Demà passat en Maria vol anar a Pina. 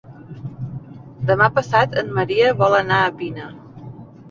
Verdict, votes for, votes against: rejected, 0, 2